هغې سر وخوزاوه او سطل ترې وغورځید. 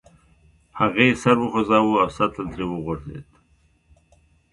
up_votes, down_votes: 0, 2